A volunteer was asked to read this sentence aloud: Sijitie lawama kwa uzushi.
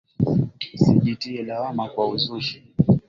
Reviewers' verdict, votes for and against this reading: accepted, 2, 0